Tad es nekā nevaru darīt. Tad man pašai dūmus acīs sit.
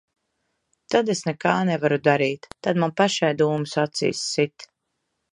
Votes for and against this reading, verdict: 2, 0, accepted